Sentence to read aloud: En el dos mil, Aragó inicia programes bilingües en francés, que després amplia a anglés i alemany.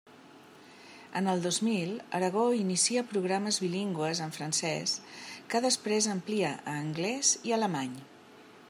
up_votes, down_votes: 3, 0